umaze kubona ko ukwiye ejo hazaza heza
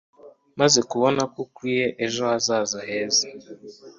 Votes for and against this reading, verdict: 2, 1, accepted